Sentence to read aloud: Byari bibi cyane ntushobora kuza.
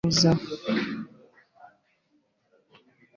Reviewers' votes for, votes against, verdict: 1, 2, rejected